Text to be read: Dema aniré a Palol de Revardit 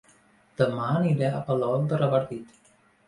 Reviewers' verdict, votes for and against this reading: accepted, 2, 0